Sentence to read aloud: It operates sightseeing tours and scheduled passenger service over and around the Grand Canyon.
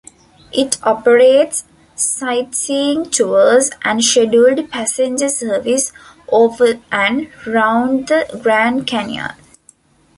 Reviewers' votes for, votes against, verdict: 0, 2, rejected